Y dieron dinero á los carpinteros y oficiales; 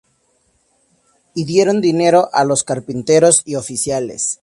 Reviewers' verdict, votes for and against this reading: accepted, 2, 0